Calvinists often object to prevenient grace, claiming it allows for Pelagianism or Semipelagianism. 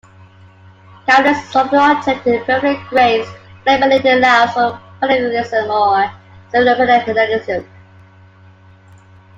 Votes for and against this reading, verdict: 0, 2, rejected